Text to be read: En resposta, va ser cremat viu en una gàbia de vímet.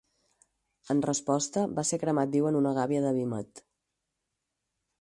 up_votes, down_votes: 4, 0